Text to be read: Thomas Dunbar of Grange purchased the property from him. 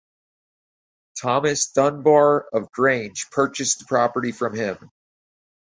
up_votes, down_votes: 4, 0